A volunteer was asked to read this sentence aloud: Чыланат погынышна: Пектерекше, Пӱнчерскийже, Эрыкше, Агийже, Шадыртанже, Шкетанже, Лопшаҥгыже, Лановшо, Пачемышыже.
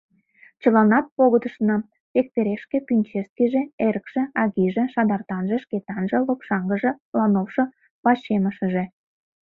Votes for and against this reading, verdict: 0, 2, rejected